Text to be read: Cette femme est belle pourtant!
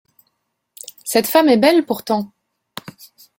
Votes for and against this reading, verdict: 2, 0, accepted